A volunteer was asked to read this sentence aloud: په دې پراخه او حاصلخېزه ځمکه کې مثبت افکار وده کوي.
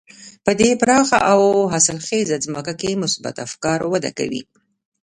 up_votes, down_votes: 1, 2